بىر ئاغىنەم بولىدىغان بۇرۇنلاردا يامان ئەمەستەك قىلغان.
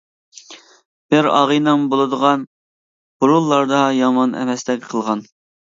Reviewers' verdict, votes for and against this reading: accepted, 2, 0